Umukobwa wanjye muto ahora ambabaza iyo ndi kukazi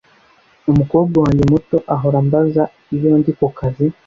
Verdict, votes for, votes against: rejected, 0, 2